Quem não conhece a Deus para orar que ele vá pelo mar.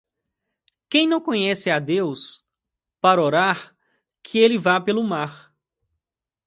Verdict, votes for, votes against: accepted, 2, 0